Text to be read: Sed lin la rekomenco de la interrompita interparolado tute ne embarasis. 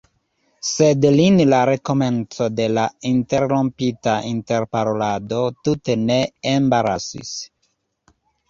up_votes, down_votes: 2, 0